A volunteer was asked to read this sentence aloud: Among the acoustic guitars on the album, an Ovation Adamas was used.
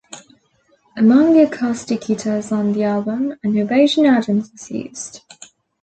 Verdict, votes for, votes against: accepted, 2, 0